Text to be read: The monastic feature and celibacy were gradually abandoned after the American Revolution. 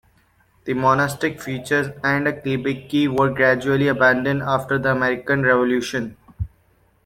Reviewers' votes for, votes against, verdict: 0, 2, rejected